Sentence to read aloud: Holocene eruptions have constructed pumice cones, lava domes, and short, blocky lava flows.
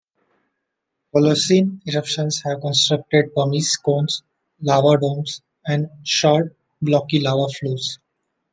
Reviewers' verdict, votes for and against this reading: accepted, 2, 0